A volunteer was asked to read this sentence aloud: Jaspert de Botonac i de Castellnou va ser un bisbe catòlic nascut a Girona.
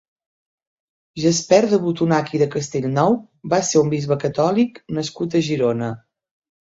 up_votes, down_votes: 2, 0